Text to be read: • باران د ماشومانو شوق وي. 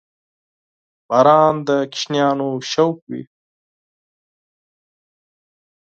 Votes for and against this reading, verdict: 2, 4, rejected